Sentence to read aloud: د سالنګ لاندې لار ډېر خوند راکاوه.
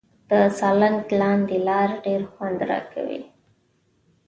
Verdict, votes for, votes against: accepted, 2, 0